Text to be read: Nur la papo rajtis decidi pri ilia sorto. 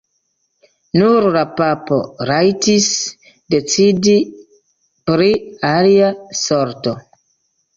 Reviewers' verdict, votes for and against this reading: rejected, 1, 2